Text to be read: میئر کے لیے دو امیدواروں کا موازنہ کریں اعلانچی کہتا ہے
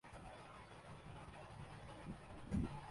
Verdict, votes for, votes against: rejected, 0, 2